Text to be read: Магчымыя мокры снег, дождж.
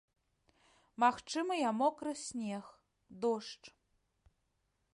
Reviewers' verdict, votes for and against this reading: accepted, 2, 0